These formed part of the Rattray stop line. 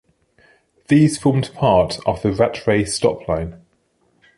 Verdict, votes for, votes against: accepted, 2, 0